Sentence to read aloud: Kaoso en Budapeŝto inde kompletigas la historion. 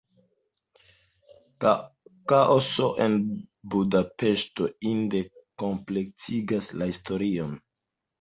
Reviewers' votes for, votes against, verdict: 2, 0, accepted